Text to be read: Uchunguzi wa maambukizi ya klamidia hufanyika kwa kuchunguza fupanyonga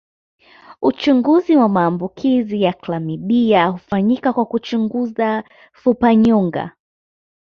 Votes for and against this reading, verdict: 2, 0, accepted